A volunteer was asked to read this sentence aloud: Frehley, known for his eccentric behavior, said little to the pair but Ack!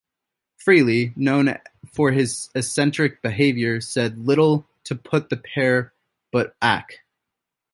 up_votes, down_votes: 1, 2